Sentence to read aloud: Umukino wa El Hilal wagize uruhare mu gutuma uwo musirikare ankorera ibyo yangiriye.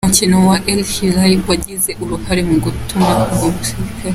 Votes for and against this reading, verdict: 0, 2, rejected